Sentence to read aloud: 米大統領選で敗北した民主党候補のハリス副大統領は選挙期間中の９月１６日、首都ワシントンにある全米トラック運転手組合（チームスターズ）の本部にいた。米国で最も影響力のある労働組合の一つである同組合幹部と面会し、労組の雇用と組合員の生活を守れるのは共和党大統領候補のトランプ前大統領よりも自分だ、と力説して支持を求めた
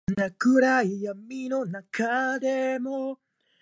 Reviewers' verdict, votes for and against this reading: rejected, 0, 2